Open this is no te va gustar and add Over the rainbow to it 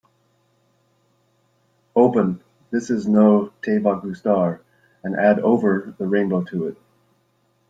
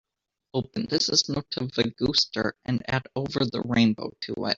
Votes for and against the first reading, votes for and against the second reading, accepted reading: 2, 0, 1, 2, first